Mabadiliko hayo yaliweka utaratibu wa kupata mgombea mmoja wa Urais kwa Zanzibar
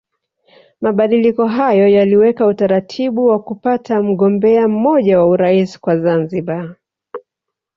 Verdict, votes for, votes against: accepted, 2, 0